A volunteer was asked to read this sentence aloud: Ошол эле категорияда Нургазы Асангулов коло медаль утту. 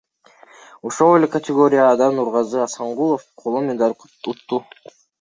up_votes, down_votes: 2, 1